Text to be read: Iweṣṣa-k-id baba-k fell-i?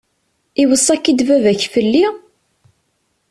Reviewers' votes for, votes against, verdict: 2, 0, accepted